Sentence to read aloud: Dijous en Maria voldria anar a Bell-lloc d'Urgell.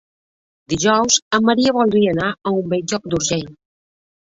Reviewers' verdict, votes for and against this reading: rejected, 1, 2